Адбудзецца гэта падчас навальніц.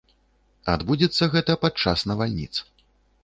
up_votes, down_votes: 2, 0